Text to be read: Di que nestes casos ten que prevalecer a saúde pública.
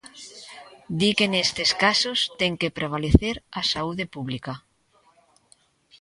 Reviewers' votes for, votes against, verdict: 2, 0, accepted